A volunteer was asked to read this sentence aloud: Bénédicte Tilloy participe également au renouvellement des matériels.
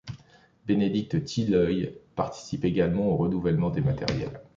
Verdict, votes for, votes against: rejected, 1, 2